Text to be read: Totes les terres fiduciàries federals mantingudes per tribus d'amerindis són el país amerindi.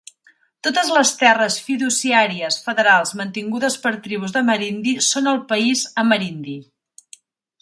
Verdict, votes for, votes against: accepted, 4, 0